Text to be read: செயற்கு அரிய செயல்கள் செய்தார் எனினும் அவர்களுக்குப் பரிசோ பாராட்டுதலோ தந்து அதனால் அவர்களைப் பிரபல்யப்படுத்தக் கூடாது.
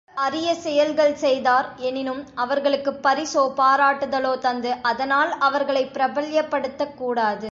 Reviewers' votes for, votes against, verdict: 1, 2, rejected